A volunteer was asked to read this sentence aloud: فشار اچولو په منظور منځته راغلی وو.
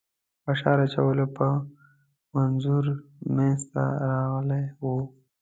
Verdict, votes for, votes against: accepted, 2, 0